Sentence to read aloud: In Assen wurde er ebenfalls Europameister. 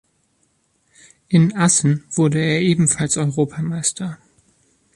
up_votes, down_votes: 3, 0